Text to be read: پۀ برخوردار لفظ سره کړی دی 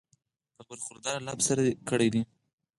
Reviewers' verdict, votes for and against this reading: accepted, 4, 2